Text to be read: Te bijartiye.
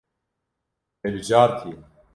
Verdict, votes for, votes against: rejected, 1, 2